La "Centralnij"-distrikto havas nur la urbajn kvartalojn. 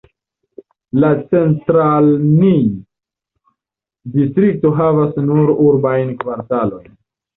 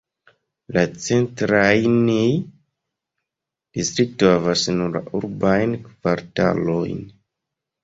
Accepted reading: first